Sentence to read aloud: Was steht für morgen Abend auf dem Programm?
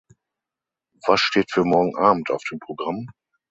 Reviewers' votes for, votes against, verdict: 6, 0, accepted